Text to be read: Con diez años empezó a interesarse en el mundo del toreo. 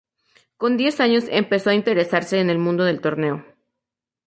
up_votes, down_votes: 0, 2